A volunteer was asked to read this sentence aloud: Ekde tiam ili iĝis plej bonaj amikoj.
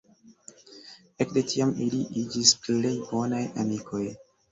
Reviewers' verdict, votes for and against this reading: rejected, 1, 2